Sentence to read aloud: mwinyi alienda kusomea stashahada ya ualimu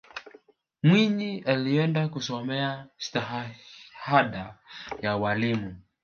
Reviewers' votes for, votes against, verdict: 1, 2, rejected